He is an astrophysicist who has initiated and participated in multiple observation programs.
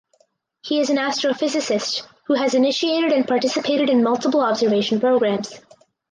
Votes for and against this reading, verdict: 4, 0, accepted